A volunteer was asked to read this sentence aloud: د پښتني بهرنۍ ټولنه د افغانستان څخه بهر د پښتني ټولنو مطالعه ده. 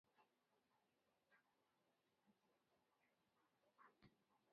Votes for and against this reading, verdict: 0, 2, rejected